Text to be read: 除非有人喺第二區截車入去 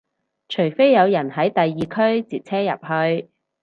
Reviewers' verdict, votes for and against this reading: accepted, 4, 0